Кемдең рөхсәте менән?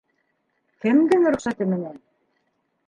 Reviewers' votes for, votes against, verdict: 0, 2, rejected